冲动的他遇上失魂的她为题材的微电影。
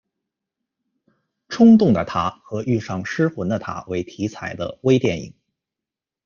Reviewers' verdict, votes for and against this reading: rejected, 1, 2